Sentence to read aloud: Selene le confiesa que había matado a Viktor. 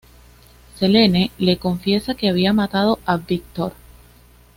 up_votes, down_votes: 2, 0